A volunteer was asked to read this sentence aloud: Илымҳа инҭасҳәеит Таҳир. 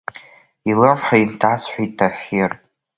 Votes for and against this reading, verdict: 2, 0, accepted